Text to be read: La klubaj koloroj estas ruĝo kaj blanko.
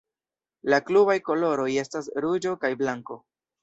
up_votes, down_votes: 2, 0